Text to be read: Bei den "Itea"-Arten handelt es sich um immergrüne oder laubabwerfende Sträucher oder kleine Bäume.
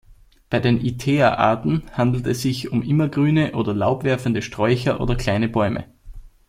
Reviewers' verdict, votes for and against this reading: rejected, 1, 2